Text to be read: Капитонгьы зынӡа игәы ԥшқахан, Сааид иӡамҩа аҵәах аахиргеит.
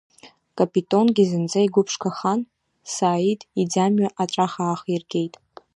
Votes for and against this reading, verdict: 3, 1, accepted